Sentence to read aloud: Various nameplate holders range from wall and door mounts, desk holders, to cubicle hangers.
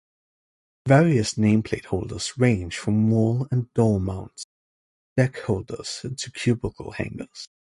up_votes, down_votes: 0, 2